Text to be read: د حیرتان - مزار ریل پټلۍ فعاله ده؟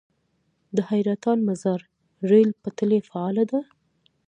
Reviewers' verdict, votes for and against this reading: rejected, 0, 2